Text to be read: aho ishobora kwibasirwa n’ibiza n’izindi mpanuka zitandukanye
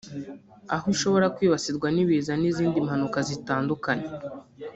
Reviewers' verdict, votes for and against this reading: rejected, 1, 2